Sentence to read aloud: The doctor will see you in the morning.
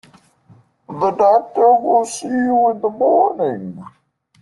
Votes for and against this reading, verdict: 0, 2, rejected